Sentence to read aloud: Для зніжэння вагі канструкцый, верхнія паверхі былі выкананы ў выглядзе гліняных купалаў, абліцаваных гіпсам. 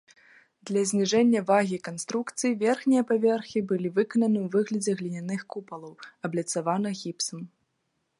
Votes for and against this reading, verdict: 2, 0, accepted